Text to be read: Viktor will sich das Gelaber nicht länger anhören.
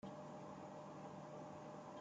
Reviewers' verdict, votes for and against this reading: rejected, 0, 2